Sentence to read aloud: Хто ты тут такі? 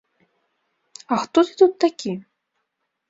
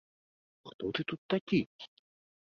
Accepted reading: second